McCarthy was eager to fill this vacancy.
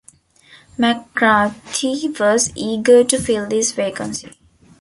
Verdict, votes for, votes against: rejected, 0, 2